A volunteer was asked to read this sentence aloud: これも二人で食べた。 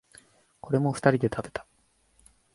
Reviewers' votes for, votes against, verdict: 2, 1, accepted